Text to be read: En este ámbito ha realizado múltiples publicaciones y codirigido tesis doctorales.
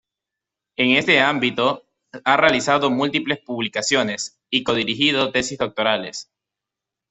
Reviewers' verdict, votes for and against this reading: accepted, 2, 0